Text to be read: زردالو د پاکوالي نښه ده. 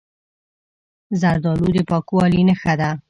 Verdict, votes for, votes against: accepted, 3, 0